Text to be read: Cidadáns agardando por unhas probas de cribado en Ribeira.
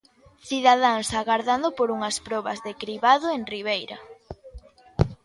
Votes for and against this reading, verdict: 2, 0, accepted